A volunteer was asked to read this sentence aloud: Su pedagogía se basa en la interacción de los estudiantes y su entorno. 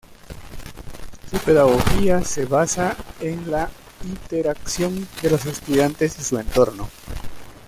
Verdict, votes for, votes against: accepted, 2, 1